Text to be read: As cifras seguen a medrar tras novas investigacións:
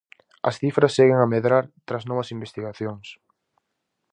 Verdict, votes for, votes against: accepted, 4, 0